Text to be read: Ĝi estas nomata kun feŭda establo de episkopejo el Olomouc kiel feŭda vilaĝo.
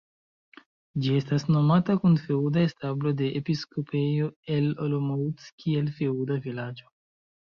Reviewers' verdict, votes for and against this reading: rejected, 0, 2